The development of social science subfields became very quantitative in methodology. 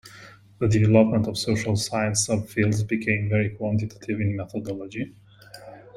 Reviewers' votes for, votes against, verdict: 2, 0, accepted